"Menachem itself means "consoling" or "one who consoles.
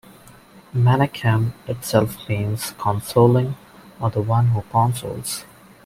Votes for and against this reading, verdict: 1, 2, rejected